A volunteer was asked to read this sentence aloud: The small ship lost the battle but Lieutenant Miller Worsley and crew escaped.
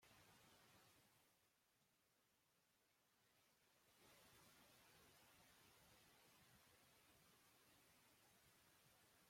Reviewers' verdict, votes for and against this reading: rejected, 0, 2